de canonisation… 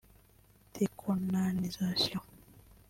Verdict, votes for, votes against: rejected, 0, 3